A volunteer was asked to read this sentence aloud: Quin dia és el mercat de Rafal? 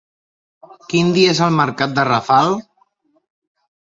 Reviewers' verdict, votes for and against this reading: accepted, 3, 0